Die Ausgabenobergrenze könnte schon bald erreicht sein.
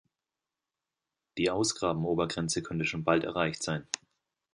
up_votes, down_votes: 0, 2